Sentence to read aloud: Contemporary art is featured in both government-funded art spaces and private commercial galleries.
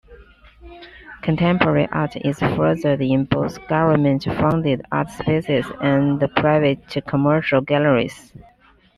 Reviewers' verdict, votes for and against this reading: rejected, 0, 2